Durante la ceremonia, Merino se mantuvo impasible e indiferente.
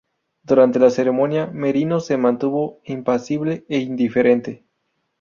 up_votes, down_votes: 2, 0